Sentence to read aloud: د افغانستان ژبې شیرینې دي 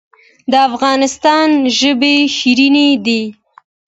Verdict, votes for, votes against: accepted, 2, 0